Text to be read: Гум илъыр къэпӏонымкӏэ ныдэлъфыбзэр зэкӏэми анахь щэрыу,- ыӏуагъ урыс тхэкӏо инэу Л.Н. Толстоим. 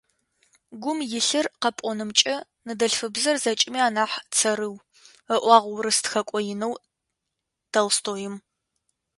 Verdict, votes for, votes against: rejected, 1, 2